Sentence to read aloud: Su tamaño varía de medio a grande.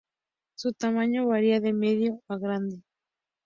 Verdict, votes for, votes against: accepted, 2, 0